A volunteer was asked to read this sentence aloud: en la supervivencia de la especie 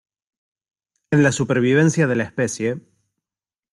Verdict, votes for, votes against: accepted, 2, 0